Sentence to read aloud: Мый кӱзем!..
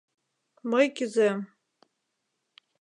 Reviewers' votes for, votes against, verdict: 2, 0, accepted